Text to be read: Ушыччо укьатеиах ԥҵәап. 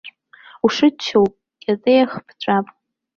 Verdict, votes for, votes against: rejected, 1, 2